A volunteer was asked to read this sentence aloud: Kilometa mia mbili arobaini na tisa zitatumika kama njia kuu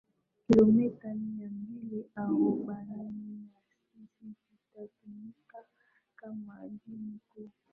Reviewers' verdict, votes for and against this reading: rejected, 1, 2